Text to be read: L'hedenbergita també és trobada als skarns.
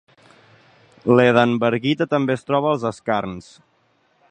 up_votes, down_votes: 1, 3